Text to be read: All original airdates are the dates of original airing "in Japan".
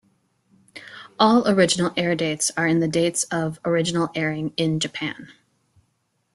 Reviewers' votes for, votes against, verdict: 1, 2, rejected